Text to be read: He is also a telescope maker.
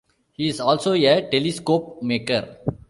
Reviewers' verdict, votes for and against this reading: rejected, 0, 2